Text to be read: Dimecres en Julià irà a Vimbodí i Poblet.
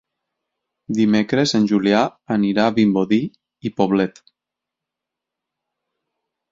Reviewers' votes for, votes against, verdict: 2, 4, rejected